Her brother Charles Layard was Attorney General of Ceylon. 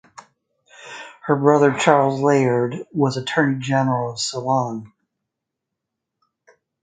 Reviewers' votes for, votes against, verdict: 2, 0, accepted